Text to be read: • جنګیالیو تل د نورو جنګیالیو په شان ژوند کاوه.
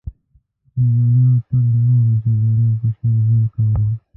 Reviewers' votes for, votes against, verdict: 0, 2, rejected